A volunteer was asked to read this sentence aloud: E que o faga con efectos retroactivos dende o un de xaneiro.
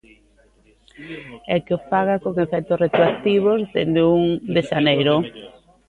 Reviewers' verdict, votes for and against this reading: rejected, 1, 2